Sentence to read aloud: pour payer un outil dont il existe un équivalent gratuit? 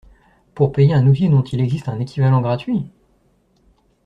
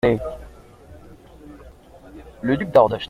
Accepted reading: first